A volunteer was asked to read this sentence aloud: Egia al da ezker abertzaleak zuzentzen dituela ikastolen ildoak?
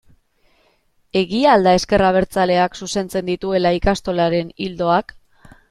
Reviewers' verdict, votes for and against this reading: rejected, 1, 3